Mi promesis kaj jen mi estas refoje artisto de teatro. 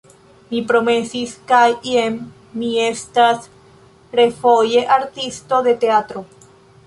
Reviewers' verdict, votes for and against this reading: accepted, 2, 0